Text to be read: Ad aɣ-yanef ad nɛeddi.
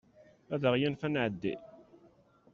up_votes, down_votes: 2, 0